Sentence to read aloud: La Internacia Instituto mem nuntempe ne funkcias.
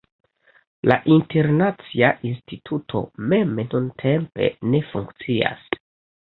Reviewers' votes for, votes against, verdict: 2, 1, accepted